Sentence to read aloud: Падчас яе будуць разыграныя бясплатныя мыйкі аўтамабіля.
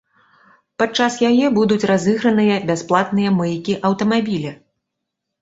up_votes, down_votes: 2, 0